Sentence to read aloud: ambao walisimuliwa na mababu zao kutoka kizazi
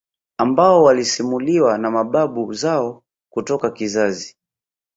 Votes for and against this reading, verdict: 2, 0, accepted